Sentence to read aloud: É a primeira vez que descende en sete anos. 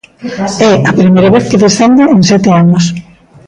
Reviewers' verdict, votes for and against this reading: rejected, 1, 2